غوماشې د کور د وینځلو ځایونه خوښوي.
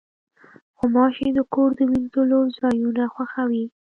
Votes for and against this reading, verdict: 3, 0, accepted